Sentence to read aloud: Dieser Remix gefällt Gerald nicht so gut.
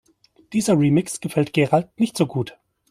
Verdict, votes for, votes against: accepted, 2, 0